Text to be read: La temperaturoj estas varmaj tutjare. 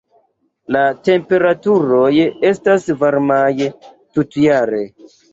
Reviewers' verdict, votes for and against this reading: accepted, 2, 1